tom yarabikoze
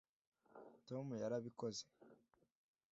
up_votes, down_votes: 2, 0